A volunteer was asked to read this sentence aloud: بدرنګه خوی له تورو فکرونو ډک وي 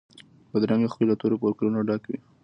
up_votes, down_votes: 2, 0